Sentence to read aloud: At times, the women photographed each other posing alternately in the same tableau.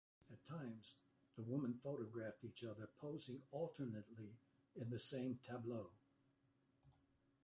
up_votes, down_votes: 0, 2